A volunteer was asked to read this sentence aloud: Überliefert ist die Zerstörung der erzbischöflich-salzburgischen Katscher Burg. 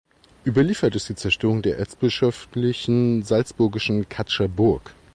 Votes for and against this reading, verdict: 0, 2, rejected